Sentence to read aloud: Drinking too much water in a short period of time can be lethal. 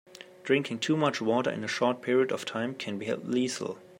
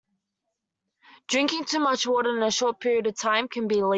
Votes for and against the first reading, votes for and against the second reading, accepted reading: 2, 0, 0, 2, first